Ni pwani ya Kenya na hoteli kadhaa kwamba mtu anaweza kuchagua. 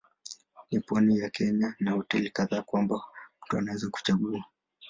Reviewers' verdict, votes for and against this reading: accepted, 2, 0